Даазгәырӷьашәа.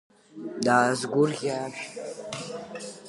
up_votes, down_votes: 0, 2